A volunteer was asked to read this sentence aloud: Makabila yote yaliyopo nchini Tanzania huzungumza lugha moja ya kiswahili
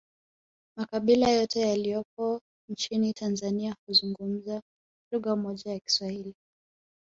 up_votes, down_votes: 0, 2